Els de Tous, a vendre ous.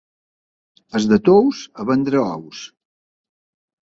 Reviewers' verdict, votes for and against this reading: accepted, 2, 0